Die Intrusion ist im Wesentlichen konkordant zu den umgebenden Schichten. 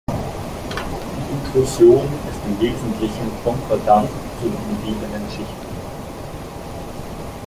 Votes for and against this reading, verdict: 1, 2, rejected